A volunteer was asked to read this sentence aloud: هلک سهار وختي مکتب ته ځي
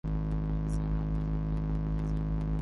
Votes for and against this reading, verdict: 1, 2, rejected